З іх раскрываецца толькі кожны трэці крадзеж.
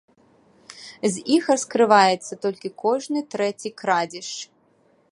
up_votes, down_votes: 2, 0